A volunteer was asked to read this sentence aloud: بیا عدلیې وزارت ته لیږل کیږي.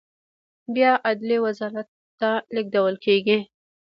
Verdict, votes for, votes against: accepted, 2, 1